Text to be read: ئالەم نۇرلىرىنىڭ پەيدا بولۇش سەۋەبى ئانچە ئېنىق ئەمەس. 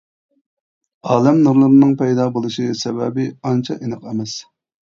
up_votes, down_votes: 1, 2